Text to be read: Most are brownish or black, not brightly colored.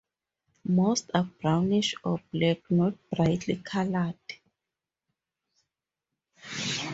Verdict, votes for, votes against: accepted, 4, 0